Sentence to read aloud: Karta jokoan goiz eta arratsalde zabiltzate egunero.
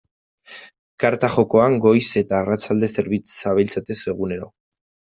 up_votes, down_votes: 1, 2